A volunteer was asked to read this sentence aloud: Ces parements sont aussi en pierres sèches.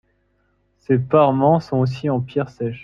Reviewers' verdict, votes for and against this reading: accepted, 2, 0